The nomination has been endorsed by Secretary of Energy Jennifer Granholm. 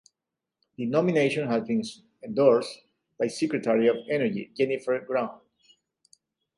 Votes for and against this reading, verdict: 1, 2, rejected